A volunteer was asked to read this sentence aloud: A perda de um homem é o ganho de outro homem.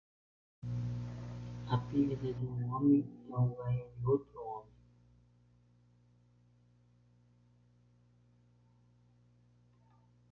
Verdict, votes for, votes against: rejected, 0, 2